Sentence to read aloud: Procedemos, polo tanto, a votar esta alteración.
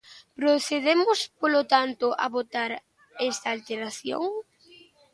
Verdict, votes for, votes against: accepted, 2, 1